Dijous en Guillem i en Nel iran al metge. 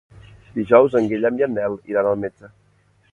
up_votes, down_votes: 0, 2